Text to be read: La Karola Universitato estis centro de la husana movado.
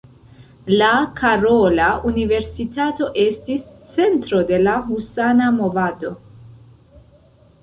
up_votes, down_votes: 1, 2